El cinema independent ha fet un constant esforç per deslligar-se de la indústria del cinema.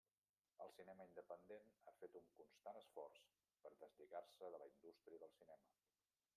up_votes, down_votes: 1, 2